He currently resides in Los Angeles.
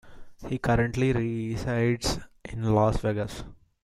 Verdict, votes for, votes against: rejected, 1, 2